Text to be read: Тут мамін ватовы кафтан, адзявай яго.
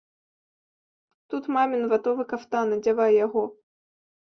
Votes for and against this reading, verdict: 2, 0, accepted